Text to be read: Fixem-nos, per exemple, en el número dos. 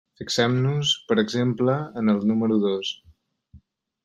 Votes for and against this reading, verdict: 3, 0, accepted